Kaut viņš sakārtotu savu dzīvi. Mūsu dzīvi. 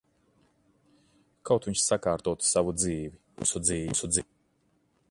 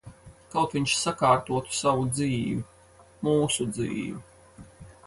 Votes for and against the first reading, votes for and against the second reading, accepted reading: 0, 2, 4, 0, second